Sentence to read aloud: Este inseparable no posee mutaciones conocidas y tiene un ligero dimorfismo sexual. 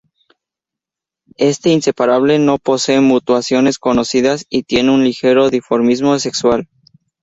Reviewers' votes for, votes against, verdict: 0, 2, rejected